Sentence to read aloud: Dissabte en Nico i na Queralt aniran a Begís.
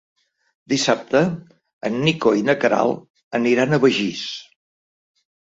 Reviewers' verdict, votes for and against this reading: accepted, 2, 0